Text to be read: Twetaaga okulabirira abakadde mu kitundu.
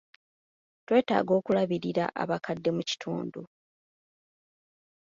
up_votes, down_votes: 2, 0